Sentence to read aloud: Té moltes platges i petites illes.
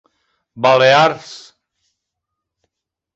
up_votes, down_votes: 0, 2